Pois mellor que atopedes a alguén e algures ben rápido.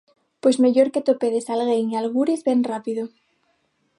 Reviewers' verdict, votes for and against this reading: rejected, 0, 6